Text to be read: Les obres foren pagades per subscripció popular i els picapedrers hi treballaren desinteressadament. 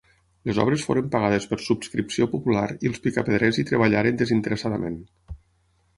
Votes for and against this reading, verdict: 6, 0, accepted